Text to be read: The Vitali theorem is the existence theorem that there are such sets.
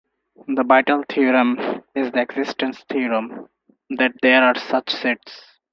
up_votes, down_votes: 4, 2